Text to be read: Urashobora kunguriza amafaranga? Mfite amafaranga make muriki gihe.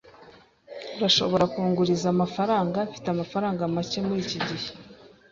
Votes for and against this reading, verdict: 2, 0, accepted